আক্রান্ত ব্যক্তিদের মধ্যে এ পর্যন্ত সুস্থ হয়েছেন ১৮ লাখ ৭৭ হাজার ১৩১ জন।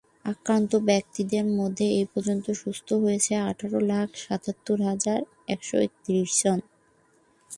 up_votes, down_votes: 0, 2